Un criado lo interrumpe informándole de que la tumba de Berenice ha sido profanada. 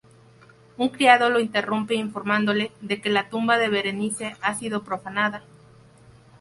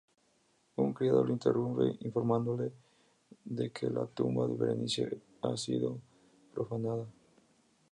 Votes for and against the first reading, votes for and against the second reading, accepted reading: 2, 0, 2, 2, first